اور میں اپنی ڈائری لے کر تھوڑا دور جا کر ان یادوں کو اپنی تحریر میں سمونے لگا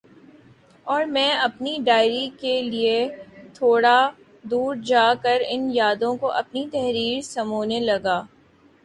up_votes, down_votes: 0, 2